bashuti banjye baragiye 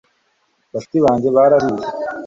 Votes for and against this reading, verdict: 1, 2, rejected